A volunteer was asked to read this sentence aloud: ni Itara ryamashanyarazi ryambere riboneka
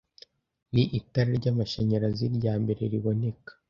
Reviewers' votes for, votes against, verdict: 2, 0, accepted